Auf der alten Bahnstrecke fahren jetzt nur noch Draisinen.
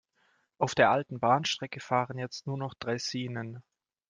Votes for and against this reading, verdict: 2, 0, accepted